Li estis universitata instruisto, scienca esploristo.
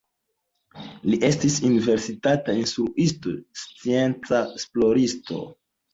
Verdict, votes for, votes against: accepted, 2, 0